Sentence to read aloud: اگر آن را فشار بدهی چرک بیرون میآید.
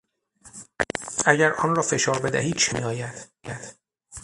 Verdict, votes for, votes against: rejected, 0, 6